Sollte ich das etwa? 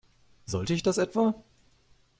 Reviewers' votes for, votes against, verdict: 2, 0, accepted